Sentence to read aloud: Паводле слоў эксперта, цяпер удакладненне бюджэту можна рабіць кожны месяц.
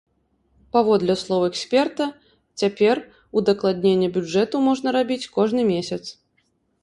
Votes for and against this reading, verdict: 2, 0, accepted